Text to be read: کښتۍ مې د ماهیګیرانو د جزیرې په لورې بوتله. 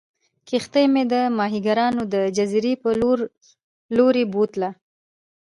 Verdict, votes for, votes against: accepted, 2, 0